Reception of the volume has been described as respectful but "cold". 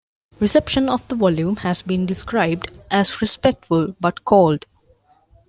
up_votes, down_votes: 2, 0